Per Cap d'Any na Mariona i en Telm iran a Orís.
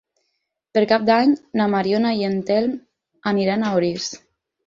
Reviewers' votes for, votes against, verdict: 0, 4, rejected